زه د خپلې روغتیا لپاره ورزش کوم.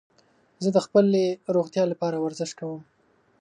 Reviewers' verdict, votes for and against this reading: accepted, 3, 0